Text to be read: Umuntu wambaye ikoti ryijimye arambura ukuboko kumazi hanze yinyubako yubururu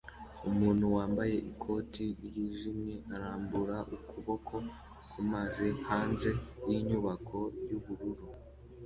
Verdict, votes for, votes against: accepted, 2, 0